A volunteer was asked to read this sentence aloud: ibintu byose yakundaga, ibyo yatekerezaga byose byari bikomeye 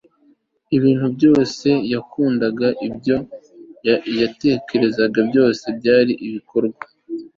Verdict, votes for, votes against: rejected, 1, 2